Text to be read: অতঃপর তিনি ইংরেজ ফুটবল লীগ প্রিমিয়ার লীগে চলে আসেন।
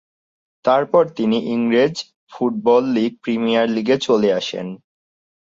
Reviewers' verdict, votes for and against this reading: rejected, 0, 2